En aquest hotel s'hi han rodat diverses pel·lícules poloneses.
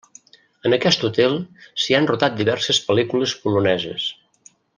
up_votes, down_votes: 1, 2